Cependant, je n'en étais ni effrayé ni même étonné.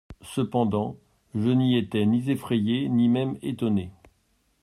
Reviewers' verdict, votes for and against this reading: rejected, 1, 2